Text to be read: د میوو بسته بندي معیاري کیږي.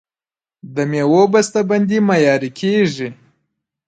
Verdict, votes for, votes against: rejected, 1, 2